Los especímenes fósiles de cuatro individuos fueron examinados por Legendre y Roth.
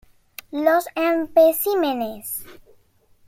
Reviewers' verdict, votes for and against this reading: rejected, 0, 2